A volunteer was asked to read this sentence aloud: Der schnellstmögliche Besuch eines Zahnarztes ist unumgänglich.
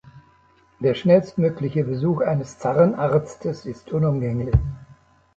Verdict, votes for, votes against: accepted, 2, 0